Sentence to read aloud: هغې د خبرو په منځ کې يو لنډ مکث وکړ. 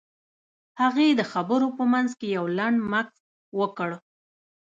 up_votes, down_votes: 0, 2